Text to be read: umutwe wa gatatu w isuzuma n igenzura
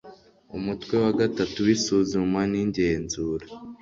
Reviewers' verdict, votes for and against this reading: rejected, 1, 2